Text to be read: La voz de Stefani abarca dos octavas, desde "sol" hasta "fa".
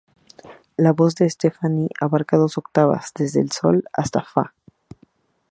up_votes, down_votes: 4, 2